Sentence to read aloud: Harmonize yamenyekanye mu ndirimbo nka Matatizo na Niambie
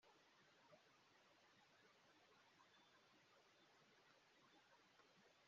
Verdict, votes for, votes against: rejected, 0, 2